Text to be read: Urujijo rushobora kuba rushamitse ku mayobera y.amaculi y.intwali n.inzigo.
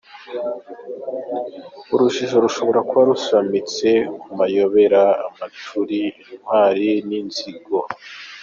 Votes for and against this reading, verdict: 1, 2, rejected